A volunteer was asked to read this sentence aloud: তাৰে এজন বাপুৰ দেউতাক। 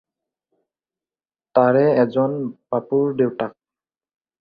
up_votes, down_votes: 4, 0